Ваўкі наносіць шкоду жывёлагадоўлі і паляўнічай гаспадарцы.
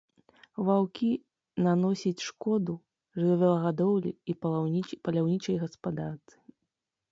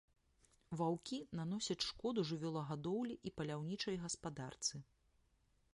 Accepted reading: second